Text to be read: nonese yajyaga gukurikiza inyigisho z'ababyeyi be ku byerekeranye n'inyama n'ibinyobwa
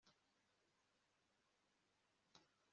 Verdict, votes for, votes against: rejected, 1, 2